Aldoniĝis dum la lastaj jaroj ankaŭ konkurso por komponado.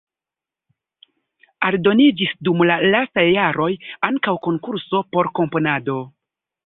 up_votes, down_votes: 1, 2